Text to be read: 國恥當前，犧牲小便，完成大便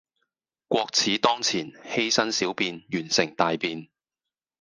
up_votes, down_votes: 0, 2